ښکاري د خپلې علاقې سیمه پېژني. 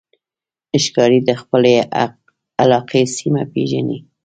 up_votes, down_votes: 1, 2